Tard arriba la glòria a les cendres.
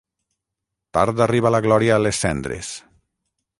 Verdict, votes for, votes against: rejected, 3, 3